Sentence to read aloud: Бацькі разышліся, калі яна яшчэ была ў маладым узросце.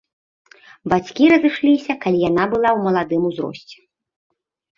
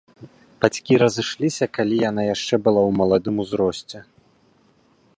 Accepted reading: second